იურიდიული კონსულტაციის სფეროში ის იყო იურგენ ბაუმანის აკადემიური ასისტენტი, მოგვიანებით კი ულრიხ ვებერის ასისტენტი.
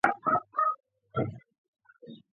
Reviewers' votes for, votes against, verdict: 0, 2, rejected